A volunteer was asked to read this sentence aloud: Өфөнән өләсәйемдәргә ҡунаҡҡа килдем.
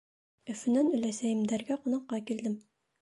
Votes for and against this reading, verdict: 2, 0, accepted